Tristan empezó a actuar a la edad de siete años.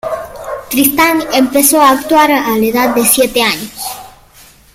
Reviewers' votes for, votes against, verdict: 1, 2, rejected